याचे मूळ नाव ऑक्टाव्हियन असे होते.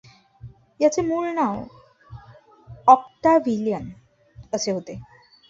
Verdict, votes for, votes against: accepted, 2, 0